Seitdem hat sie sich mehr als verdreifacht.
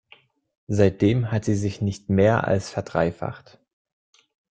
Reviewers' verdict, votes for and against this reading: rejected, 0, 2